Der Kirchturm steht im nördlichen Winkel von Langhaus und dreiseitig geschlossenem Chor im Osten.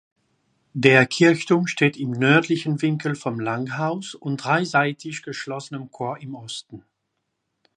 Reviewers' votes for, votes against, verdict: 1, 2, rejected